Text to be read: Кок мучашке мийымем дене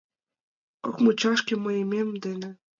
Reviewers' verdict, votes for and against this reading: rejected, 0, 2